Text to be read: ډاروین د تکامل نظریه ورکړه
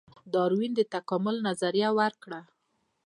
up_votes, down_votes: 2, 1